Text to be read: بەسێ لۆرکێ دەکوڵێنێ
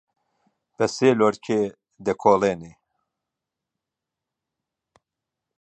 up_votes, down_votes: 1, 2